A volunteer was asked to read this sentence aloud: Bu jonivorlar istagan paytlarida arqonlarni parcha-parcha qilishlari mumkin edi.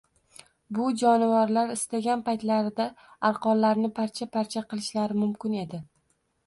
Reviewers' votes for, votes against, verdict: 2, 0, accepted